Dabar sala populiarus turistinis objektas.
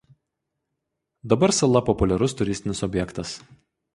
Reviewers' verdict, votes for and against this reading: accepted, 2, 0